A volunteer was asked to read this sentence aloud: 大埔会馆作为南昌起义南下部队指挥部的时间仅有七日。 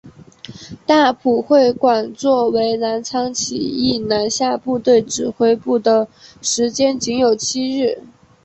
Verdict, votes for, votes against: rejected, 0, 2